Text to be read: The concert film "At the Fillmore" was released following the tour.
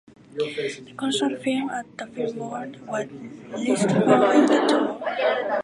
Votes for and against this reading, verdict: 0, 2, rejected